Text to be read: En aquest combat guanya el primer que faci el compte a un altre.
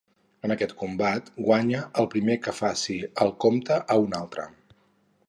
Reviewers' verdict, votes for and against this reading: accepted, 4, 0